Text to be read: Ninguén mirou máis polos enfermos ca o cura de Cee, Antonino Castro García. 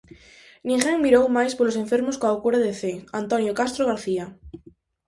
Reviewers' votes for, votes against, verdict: 0, 4, rejected